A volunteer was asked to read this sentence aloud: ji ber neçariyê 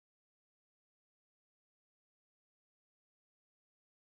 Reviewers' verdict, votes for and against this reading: rejected, 1, 2